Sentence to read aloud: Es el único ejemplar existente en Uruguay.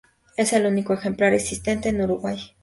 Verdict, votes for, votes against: accepted, 4, 2